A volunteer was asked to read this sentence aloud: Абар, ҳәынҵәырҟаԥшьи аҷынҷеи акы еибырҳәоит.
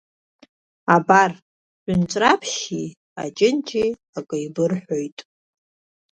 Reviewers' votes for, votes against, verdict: 2, 0, accepted